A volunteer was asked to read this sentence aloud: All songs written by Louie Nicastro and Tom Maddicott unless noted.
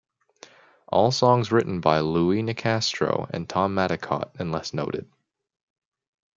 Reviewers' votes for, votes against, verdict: 2, 0, accepted